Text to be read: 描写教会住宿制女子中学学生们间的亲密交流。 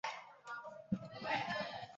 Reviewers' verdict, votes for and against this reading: rejected, 0, 3